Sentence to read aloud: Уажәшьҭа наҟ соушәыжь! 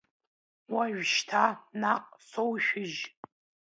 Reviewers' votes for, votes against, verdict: 2, 0, accepted